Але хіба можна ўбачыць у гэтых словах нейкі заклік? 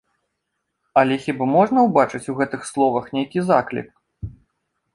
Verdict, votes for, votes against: accepted, 2, 0